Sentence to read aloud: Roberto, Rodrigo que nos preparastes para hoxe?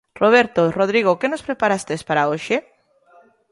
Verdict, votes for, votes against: accepted, 2, 0